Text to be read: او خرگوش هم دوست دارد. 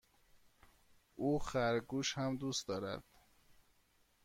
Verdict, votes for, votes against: accepted, 2, 0